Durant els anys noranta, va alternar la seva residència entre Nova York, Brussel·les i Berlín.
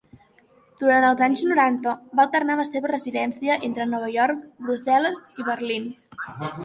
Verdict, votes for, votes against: accepted, 2, 1